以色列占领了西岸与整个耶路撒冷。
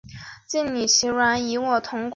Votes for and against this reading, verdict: 0, 3, rejected